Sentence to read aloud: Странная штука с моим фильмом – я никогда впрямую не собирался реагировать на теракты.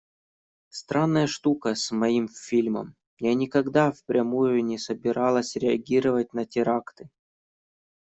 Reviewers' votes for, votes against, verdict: 0, 2, rejected